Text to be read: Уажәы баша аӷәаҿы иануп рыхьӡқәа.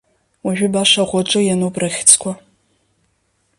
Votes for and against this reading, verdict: 2, 0, accepted